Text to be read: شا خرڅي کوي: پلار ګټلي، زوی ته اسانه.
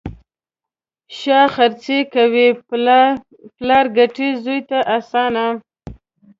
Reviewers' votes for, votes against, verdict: 0, 2, rejected